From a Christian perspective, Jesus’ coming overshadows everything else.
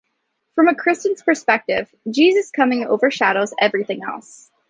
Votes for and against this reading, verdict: 2, 0, accepted